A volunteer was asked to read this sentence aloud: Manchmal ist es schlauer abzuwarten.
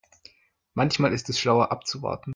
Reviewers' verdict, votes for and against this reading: accepted, 2, 0